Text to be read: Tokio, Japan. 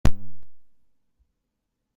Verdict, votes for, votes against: rejected, 0, 2